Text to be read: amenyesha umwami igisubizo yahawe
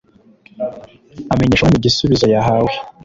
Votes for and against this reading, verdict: 1, 2, rejected